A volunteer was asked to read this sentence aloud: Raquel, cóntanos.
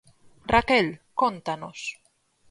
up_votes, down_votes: 4, 0